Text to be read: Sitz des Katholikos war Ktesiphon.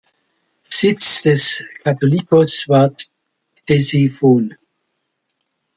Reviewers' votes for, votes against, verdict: 1, 2, rejected